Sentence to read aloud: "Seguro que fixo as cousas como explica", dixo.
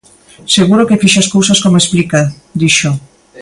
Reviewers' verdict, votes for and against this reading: accepted, 2, 0